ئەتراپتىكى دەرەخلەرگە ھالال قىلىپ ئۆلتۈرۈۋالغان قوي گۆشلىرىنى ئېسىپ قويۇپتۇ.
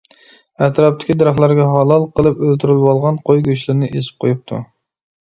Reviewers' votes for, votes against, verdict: 2, 0, accepted